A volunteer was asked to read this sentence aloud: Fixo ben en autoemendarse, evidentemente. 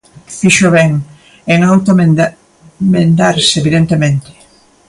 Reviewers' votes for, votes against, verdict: 0, 2, rejected